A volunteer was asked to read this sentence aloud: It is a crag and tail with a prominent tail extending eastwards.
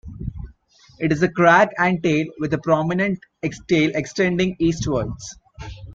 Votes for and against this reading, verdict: 0, 2, rejected